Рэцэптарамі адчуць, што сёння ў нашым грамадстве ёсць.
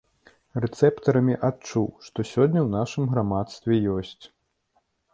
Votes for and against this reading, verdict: 1, 2, rejected